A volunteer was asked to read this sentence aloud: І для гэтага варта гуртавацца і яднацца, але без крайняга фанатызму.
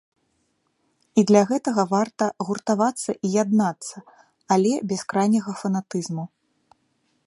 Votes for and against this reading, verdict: 1, 2, rejected